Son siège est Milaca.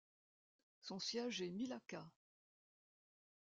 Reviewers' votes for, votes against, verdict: 2, 0, accepted